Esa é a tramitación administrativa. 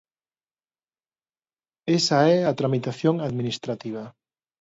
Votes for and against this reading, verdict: 2, 0, accepted